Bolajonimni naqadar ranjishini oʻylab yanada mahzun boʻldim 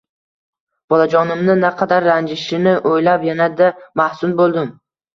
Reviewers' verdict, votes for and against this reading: rejected, 1, 2